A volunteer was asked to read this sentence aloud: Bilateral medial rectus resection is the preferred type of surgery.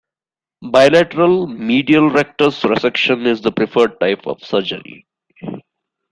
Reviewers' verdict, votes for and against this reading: accepted, 2, 1